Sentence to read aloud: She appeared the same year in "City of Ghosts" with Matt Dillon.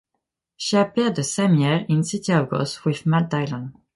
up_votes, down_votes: 2, 0